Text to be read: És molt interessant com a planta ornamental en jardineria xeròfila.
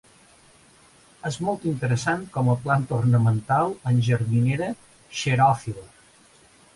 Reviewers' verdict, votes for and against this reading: rejected, 1, 2